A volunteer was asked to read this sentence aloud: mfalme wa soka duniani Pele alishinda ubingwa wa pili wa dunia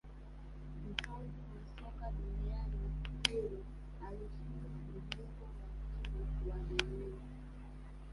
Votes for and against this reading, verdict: 0, 2, rejected